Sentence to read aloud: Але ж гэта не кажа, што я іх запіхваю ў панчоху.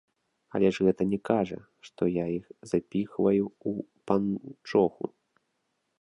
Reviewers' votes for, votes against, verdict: 2, 0, accepted